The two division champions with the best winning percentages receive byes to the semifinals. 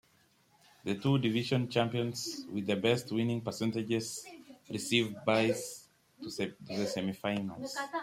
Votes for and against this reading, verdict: 0, 2, rejected